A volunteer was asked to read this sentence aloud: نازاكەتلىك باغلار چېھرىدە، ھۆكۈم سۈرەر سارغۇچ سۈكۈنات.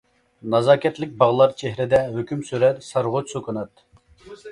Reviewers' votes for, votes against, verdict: 2, 0, accepted